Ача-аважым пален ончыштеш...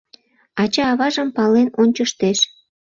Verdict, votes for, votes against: accepted, 2, 0